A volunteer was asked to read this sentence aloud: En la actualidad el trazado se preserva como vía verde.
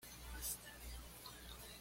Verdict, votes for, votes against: rejected, 1, 2